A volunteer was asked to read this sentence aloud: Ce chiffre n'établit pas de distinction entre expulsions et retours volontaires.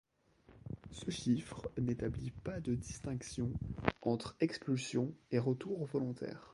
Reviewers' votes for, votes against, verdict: 0, 2, rejected